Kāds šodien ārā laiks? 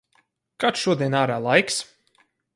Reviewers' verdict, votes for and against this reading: accepted, 4, 2